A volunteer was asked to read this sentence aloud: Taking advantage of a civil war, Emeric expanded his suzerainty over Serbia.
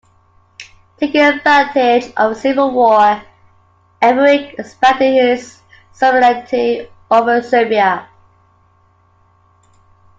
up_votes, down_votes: 0, 2